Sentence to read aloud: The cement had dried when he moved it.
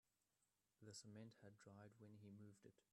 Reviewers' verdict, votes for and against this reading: accepted, 2, 0